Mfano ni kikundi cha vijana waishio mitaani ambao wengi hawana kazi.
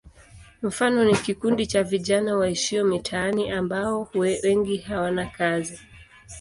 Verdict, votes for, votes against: accepted, 2, 0